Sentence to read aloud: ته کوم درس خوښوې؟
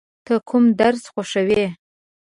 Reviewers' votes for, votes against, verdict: 2, 0, accepted